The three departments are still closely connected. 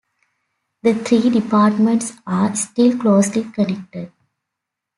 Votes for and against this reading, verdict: 2, 0, accepted